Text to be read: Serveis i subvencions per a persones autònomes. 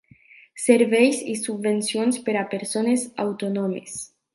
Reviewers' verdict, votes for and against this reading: rejected, 1, 3